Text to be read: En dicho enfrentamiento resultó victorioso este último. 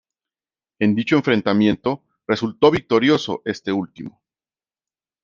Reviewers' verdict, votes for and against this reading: accepted, 2, 0